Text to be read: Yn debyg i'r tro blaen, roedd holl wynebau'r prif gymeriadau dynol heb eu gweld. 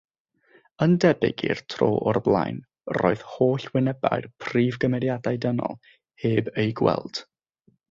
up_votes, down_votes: 3, 3